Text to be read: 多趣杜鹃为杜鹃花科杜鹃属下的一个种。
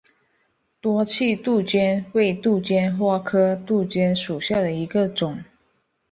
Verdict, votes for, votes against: rejected, 1, 2